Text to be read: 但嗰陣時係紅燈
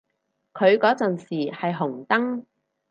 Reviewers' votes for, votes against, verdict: 0, 4, rejected